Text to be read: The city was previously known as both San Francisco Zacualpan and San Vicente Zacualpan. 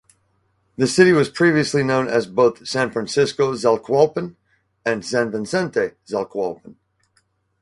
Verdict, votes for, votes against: accepted, 4, 0